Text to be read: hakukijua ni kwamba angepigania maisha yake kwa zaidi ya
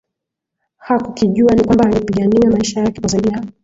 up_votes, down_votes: 8, 2